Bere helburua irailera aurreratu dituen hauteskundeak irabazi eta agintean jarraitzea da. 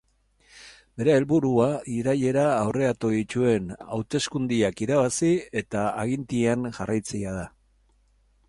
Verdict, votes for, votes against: rejected, 0, 2